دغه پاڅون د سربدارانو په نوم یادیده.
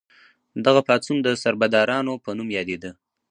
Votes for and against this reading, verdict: 0, 2, rejected